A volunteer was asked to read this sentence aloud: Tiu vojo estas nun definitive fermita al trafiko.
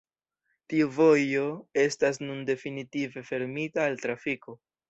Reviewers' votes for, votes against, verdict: 0, 2, rejected